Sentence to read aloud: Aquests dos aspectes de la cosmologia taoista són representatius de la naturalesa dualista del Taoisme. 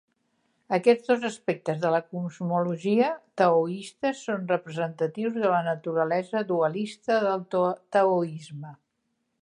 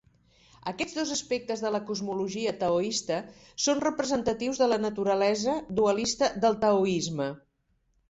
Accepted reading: second